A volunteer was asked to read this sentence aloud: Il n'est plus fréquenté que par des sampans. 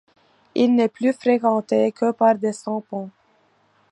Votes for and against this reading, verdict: 2, 0, accepted